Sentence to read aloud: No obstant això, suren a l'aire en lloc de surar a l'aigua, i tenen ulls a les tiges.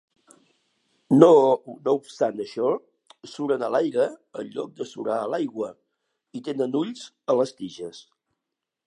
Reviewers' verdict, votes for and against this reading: rejected, 1, 2